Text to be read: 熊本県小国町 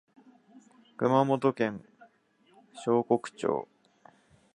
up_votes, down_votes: 1, 2